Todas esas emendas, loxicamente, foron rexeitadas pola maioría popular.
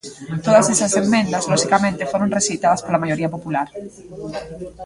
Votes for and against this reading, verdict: 0, 2, rejected